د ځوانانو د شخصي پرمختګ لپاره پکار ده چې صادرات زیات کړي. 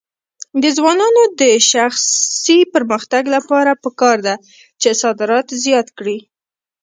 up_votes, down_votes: 0, 2